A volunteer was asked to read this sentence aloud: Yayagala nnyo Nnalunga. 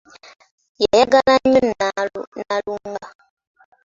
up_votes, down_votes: 2, 1